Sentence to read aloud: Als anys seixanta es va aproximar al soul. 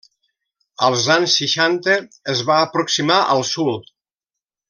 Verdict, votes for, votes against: rejected, 1, 2